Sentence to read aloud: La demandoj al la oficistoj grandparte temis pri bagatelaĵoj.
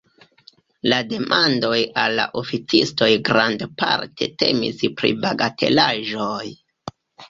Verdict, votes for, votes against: accepted, 3, 1